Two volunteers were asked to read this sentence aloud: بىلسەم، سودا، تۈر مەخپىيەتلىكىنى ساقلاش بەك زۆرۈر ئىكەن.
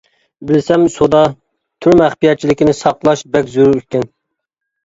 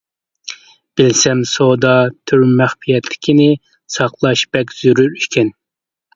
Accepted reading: second